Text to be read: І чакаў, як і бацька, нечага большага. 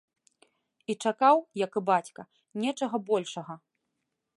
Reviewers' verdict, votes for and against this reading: accepted, 2, 0